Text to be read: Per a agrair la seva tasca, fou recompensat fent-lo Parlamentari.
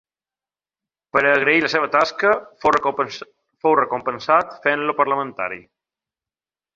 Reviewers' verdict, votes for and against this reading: rejected, 1, 2